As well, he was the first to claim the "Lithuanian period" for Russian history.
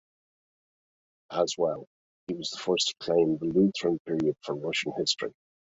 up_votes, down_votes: 1, 2